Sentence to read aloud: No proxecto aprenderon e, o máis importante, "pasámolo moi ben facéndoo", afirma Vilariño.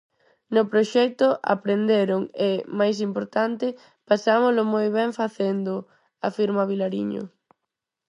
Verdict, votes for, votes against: rejected, 2, 4